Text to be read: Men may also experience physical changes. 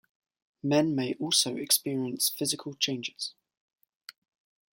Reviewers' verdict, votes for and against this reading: accepted, 2, 0